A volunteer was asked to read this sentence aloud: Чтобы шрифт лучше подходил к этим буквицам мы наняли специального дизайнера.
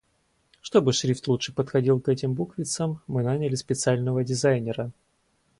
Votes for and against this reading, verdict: 2, 2, rejected